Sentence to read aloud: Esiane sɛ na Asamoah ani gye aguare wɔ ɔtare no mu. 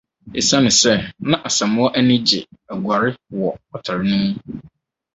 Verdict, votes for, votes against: accepted, 4, 0